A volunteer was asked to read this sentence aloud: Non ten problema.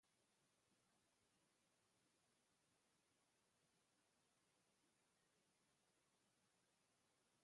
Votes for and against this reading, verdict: 0, 2, rejected